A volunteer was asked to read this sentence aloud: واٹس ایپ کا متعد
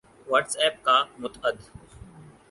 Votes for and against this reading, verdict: 4, 0, accepted